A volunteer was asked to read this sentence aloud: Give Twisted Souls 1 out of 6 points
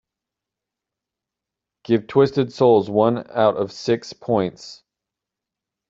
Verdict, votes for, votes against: rejected, 0, 2